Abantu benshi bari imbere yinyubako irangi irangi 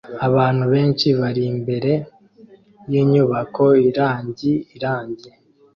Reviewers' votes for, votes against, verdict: 2, 0, accepted